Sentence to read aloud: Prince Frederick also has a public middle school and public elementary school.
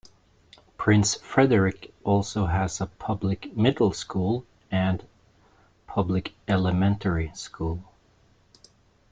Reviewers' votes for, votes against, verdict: 2, 0, accepted